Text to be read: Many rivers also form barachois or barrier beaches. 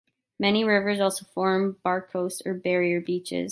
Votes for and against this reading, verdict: 2, 1, accepted